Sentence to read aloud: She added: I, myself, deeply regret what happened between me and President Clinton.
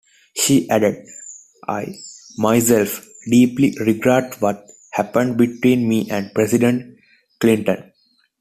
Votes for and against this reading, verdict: 2, 0, accepted